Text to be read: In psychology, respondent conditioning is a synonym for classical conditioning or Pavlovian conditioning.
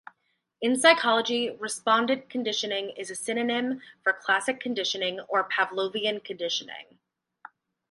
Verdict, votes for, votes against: rejected, 2, 2